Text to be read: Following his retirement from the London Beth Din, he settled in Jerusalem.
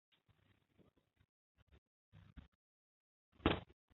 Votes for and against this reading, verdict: 0, 2, rejected